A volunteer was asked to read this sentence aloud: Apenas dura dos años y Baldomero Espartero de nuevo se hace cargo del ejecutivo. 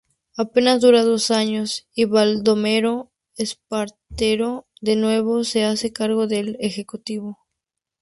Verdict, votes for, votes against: accepted, 2, 0